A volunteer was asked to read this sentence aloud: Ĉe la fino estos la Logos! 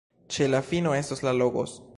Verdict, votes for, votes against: accepted, 2, 0